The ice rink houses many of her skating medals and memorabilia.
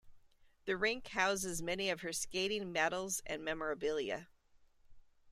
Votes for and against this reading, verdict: 0, 2, rejected